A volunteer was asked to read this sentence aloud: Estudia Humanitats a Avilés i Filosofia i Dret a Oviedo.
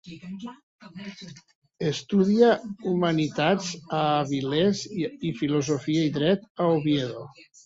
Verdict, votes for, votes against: rejected, 1, 2